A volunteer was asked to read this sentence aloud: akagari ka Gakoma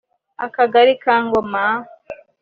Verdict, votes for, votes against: accepted, 4, 3